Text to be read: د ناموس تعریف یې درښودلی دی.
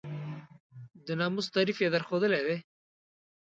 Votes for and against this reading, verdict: 1, 2, rejected